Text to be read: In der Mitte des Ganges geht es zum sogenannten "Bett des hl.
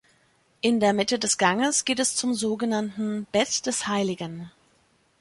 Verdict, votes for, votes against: rejected, 0, 2